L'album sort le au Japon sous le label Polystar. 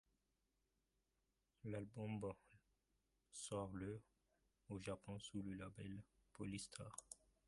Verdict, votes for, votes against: rejected, 0, 2